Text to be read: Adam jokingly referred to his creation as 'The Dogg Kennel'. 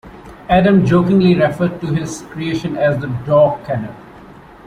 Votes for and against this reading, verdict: 2, 1, accepted